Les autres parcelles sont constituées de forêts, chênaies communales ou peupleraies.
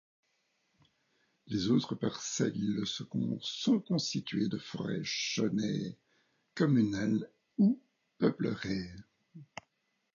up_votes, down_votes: 0, 2